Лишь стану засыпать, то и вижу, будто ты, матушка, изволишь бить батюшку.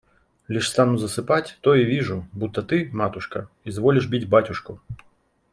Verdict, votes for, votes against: accepted, 2, 0